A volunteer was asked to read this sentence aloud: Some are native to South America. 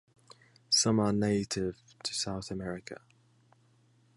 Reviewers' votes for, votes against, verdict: 2, 0, accepted